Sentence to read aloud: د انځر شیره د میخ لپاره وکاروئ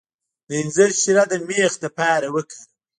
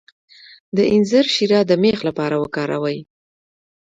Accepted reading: second